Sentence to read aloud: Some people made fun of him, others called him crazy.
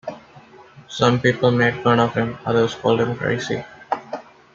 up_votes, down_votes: 2, 0